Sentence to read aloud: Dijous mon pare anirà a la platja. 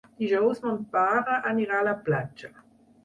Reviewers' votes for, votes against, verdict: 6, 0, accepted